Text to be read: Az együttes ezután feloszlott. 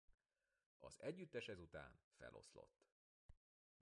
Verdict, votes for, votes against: rejected, 1, 2